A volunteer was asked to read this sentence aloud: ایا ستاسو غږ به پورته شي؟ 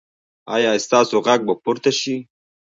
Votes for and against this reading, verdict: 1, 2, rejected